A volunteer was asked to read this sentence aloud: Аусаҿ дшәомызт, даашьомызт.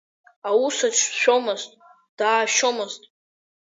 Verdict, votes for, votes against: rejected, 0, 2